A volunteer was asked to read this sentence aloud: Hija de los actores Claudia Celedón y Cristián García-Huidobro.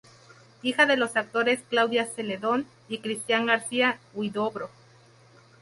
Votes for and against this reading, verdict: 4, 0, accepted